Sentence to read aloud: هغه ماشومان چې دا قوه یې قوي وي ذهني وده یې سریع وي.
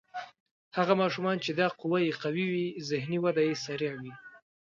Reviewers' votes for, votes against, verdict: 2, 0, accepted